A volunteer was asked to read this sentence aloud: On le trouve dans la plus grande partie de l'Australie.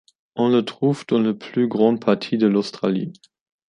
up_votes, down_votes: 1, 2